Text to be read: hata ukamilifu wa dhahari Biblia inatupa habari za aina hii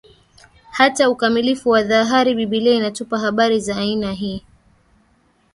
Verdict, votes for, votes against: accepted, 2, 1